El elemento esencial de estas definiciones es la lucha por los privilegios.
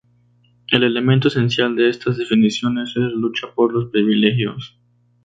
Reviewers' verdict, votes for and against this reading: rejected, 0, 2